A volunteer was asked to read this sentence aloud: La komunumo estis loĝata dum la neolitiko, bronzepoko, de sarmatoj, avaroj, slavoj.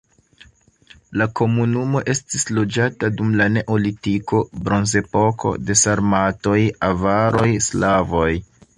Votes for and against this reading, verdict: 2, 0, accepted